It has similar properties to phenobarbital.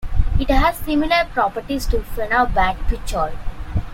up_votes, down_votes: 2, 1